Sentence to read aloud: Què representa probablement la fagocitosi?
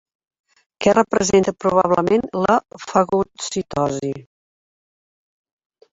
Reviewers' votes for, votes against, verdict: 1, 2, rejected